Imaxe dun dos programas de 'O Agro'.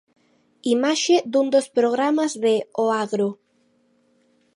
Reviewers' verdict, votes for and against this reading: accepted, 2, 0